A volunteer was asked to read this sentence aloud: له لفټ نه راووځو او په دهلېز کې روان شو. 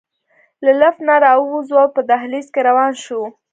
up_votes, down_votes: 2, 0